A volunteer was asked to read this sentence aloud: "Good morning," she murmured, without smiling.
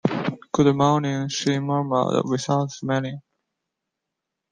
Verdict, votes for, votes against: rejected, 1, 2